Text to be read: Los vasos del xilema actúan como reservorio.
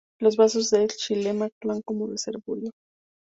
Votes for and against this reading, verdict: 0, 2, rejected